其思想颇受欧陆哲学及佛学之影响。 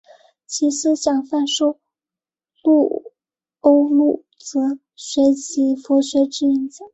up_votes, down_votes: 0, 3